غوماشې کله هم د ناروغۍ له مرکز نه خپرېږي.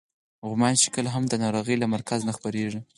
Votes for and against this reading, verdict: 6, 0, accepted